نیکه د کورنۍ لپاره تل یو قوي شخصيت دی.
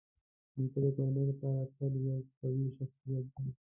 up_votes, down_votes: 1, 2